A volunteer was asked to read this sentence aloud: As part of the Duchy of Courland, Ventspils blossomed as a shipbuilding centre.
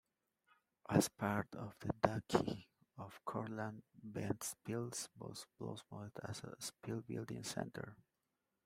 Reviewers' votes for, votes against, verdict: 2, 0, accepted